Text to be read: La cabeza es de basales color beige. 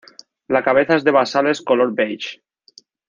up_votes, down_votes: 2, 1